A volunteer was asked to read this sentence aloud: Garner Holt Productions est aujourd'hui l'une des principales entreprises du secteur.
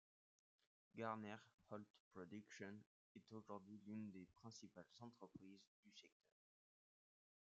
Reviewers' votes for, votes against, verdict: 2, 0, accepted